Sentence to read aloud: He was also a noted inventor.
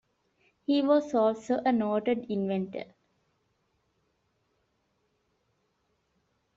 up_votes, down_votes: 2, 0